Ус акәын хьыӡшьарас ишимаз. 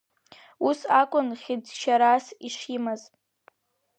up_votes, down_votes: 3, 0